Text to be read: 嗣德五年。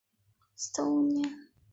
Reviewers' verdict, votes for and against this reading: rejected, 0, 2